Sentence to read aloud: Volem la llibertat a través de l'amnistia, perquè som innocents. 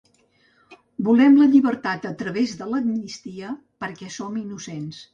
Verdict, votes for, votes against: accepted, 2, 0